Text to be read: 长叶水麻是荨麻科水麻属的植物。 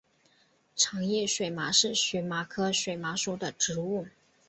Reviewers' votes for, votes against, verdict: 3, 0, accepted